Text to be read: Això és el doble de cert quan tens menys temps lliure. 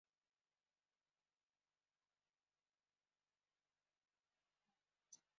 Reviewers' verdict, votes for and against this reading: rejected, 0, 2